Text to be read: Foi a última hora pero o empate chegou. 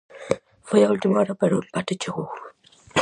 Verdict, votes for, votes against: rejected, 2, 2